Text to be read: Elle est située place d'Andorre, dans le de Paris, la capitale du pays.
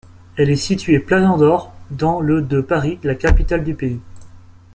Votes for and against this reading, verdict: 1, 2, rejected